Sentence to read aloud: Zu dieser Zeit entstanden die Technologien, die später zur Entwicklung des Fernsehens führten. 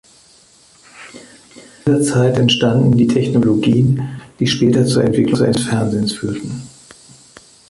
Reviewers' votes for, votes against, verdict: 0, 3, rejected